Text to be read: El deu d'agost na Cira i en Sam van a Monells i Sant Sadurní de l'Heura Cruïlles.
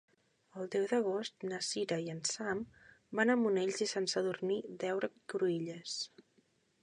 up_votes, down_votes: 1, 2